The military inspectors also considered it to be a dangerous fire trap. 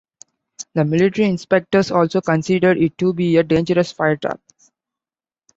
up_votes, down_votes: 2, 0